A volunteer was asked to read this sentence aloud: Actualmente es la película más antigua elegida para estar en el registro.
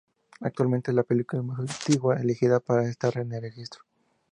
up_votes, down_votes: 0, 2